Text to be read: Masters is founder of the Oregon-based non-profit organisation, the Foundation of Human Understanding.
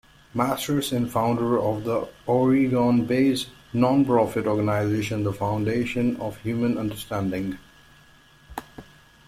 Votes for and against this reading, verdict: 1, 2, rejected